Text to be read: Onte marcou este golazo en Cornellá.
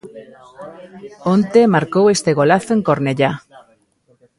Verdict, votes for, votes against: rejected, 1, 2